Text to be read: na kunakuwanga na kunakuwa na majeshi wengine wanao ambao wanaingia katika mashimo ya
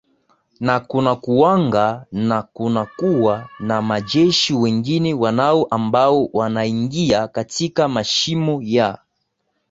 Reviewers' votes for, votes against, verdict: 2, 0, accepted